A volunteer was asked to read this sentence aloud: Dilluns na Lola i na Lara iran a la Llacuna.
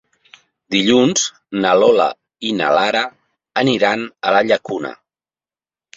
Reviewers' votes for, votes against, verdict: 0, 2, rejected